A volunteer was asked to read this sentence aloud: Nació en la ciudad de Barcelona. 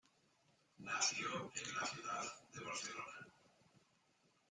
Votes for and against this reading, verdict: 2, 0, accepted